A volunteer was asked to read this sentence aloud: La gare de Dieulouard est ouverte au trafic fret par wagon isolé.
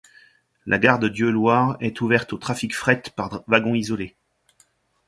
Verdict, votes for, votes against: rejected, 1, 2